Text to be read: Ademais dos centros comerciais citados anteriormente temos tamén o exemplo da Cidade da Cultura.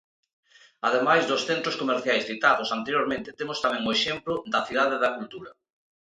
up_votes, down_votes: 4, 0